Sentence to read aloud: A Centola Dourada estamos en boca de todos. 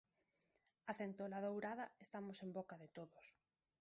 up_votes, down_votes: 0, 2